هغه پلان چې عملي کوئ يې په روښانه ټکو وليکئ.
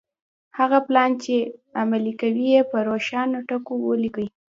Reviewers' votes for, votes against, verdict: 0, 2, rejected